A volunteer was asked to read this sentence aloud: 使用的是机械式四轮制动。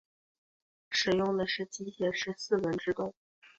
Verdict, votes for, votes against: accepted, 2, 0